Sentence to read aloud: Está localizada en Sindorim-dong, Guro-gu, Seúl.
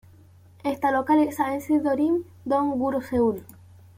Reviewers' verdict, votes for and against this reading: rejected, 1, 2